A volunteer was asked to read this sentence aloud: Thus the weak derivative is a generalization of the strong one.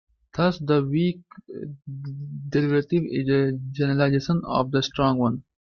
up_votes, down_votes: 0, 2